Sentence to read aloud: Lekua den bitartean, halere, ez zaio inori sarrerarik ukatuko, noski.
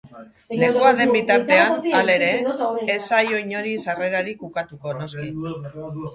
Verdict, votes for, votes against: rejected, 0, 2